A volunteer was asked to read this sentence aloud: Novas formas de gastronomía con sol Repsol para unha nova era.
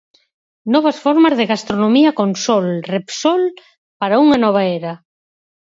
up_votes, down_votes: 4, 0